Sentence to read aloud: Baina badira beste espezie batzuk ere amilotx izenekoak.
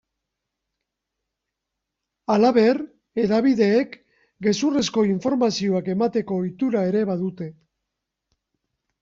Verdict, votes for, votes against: rejected, 1, 2